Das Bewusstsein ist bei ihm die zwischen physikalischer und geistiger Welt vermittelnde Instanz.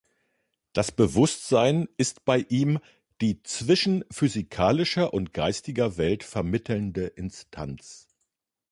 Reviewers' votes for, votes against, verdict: 2, 0, accepted